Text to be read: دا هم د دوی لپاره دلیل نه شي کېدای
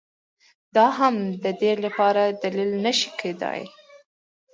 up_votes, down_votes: 2, 0